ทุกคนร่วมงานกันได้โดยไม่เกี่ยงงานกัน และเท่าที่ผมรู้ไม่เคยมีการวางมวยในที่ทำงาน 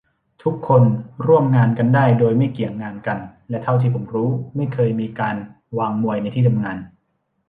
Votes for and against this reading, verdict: 2, 0, accepted